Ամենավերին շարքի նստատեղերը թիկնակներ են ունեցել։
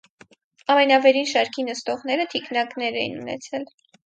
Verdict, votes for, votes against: rejected, 2, 4